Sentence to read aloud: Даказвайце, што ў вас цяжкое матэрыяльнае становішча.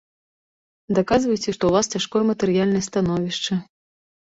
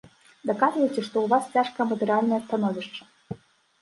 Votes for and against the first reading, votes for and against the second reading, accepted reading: 2, 0, 1, 2, first